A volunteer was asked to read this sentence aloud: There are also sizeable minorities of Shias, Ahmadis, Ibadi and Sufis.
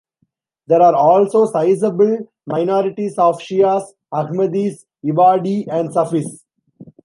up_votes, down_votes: 3, 1